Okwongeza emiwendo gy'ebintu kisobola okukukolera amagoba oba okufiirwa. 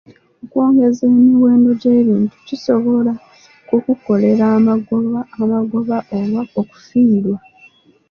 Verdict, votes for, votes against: accepted, 2, 0